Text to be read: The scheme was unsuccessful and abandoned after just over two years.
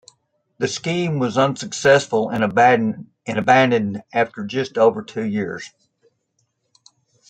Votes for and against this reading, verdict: 0, 2, rejected